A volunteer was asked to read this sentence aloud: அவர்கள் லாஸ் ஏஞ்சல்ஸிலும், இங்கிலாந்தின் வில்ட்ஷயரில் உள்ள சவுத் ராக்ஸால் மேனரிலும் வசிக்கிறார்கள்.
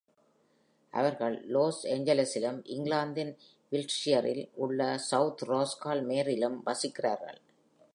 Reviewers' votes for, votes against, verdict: 1, 2, rejected